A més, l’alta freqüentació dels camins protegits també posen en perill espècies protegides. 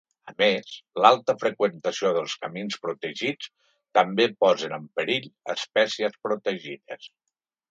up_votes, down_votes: 3, 0